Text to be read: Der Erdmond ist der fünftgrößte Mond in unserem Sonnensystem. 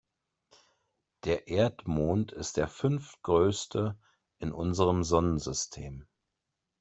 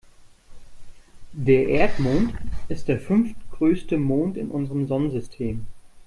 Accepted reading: second